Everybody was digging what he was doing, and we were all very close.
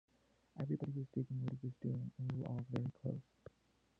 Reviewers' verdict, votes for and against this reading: rejected, 0, 2